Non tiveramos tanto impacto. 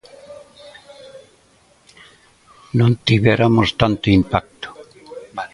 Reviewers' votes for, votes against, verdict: 1, 2, rejected